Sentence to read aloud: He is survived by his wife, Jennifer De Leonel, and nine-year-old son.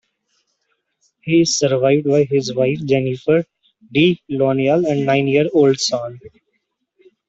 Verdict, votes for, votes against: rejected, 1, 2